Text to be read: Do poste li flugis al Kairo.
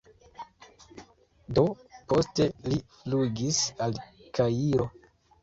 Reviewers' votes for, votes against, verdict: 2, 0, accepted